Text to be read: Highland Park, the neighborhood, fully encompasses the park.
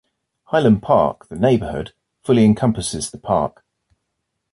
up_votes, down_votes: 2, 1